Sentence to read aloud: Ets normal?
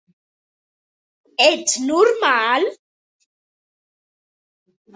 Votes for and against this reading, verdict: 3, 0, accepted